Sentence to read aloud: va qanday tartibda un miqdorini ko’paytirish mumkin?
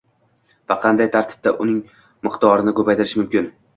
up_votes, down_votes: 1, 2